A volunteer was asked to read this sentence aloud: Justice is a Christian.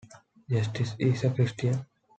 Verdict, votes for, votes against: accepted, 2, 0